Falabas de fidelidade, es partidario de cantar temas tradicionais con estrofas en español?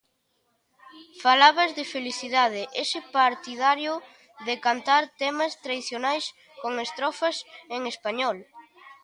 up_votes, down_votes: 0, 2